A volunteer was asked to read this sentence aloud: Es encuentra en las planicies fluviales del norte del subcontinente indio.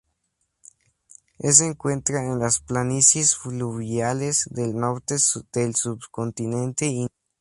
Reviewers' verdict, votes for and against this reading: accepted, 2, 0